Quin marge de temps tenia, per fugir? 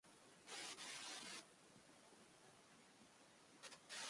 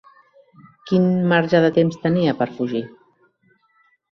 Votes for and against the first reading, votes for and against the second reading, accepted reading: 0, 2, 3, 0, second